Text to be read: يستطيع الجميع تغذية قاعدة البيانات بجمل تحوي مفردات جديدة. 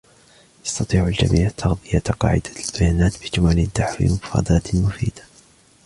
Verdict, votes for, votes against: accepted, 2, 0